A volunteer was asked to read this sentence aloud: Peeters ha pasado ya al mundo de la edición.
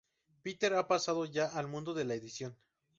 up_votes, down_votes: 0, 2